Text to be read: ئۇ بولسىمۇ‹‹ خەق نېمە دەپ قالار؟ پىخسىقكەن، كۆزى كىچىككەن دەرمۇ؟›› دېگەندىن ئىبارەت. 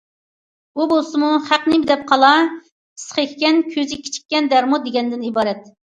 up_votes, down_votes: 1, 2